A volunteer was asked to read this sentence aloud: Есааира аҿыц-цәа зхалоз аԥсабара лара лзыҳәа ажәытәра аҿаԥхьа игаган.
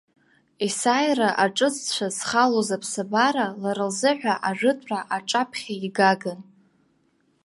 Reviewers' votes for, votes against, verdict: 2, 0, accepted